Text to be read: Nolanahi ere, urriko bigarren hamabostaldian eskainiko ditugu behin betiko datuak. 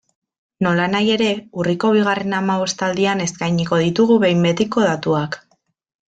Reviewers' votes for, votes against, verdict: 2, 0, accepted